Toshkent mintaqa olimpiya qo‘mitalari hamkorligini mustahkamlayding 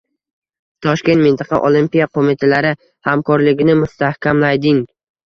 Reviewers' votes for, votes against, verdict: 0, 2, rejected